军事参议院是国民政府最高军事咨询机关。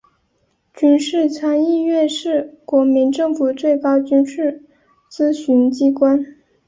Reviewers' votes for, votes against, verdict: 2, 0, accepted